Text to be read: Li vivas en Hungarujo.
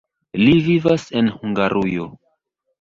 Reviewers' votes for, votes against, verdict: 2, 1, accepted